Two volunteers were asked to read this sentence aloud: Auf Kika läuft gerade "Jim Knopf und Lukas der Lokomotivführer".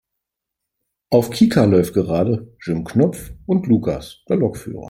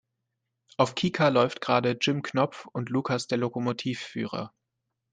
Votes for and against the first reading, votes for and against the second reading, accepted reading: 0, 3, 2, 0, second